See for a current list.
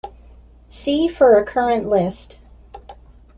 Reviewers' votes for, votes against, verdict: 2, 1, accepted